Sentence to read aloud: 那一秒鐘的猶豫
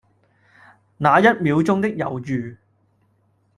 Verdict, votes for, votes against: accepted, 2, 0